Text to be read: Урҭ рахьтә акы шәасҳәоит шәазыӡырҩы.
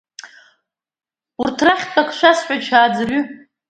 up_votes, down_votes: 1, 2